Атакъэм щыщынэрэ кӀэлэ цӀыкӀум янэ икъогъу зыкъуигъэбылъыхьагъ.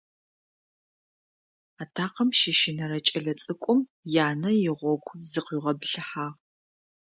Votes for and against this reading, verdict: 1, 2, rejected